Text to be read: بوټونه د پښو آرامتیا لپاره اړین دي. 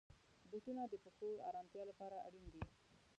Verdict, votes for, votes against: rejected, 1, 2